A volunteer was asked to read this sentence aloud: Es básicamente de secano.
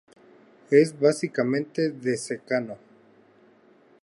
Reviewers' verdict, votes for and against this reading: accepted, 2, 0